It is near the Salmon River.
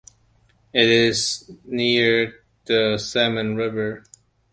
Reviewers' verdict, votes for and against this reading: accepted, 2, 0